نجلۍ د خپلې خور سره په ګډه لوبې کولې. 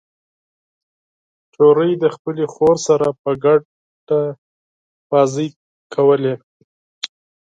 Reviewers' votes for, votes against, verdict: 4, 6, rejected